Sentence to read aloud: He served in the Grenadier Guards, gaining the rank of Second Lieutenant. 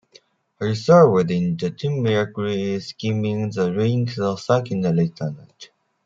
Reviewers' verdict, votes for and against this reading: rejected, 1, 3